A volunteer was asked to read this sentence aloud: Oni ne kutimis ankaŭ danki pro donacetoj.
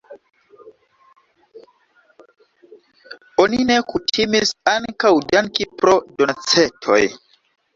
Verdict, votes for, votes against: rejected, 0, 2